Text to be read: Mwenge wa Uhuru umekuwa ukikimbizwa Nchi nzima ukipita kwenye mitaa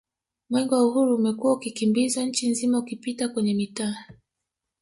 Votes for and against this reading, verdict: 3, 1, accepted